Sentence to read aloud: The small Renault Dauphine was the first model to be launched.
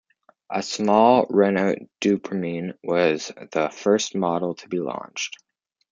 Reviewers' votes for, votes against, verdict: 2, 1, accepted